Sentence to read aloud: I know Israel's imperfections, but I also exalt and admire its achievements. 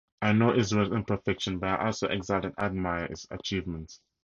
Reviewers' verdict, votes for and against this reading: accepted, 2, 0